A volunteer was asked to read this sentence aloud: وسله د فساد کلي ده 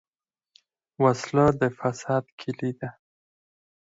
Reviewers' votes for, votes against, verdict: 2, 4, rejected